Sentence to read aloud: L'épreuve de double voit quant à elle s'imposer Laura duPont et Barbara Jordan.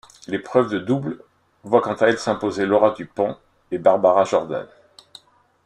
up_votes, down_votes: 1, 2